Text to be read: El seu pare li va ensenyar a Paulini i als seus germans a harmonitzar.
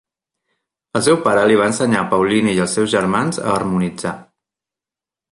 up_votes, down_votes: 2, 1